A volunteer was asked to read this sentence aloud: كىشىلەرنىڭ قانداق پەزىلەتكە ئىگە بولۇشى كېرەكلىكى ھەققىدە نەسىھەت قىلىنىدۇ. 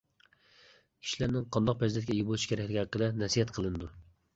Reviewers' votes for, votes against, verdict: 2, 0, accepted